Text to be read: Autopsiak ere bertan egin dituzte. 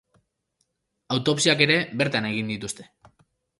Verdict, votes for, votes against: accepted, 2, 0